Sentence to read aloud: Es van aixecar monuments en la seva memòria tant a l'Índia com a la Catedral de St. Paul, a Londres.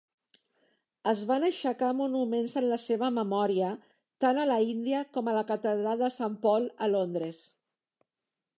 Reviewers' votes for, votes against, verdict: 1, 2, rejected